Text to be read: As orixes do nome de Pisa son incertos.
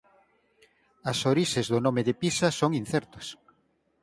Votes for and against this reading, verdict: 2, 4, rejected